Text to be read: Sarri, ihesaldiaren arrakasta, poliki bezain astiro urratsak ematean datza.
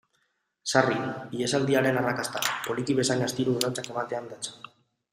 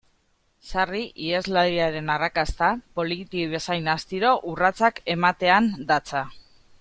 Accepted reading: first